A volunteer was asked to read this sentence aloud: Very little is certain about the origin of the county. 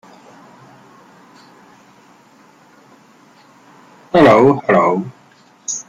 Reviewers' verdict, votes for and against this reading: rejected, 0, 2